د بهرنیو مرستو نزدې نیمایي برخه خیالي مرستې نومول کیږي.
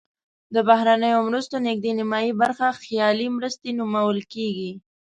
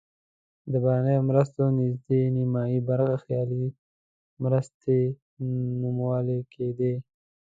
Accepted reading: first